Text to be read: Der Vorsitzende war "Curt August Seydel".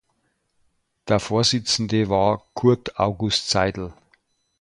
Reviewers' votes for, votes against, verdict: 2, 0, accepted